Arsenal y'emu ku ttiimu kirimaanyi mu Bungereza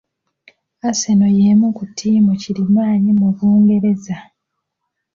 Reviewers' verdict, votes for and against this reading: accepted, 2, 0